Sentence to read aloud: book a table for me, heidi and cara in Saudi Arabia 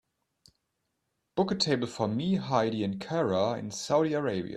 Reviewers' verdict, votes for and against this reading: accepted, 2, 0